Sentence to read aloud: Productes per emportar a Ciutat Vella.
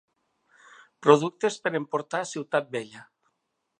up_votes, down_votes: 3, 0